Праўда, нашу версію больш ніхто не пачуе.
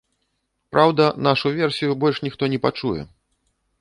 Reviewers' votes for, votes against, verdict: 2, 0, accepted